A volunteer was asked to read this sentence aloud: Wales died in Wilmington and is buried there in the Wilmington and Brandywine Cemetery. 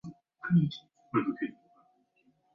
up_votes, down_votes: 0, 4